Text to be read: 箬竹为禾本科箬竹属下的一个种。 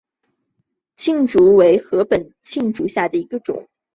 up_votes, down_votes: 0, 4